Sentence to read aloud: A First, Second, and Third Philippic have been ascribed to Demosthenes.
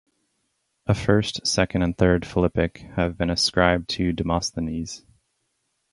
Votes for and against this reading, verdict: 6, 0, accepted